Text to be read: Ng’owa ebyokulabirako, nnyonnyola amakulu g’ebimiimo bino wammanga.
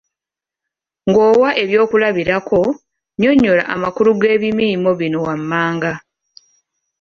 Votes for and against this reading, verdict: 2, 0, accepted